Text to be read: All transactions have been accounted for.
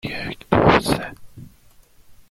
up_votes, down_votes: 0, 2